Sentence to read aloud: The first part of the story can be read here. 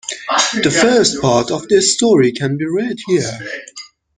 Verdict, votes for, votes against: rejected, 0, 2